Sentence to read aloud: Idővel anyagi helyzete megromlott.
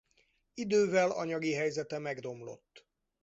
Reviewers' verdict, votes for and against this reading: accepted, 4, 0